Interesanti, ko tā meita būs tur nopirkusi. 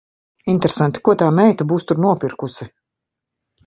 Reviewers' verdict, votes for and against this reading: accepted, 2, 1